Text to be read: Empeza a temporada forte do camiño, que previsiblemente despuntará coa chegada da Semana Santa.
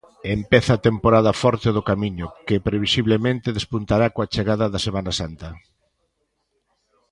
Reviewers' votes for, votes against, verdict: 2, 0, accepted